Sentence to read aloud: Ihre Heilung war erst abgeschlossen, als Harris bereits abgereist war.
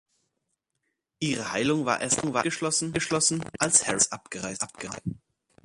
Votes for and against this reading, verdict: 0, 2, rejected